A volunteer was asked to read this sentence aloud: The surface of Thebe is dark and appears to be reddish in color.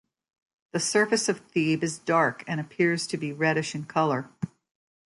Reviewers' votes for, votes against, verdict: 2, 0, accepted